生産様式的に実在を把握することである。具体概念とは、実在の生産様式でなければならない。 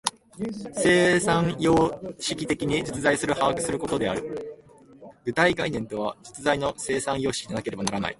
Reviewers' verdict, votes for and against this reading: rejected, 1, 2